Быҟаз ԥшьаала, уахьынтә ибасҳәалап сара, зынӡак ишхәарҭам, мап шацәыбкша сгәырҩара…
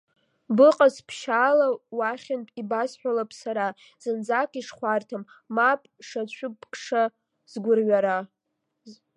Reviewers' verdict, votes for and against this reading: accepted, 2, 0